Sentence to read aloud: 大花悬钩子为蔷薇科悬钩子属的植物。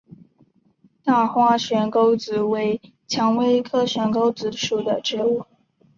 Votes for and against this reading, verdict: 4, 1, accepted